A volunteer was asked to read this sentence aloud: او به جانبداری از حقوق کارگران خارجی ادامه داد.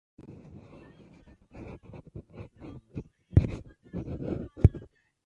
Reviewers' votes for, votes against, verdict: 0, 2, rejected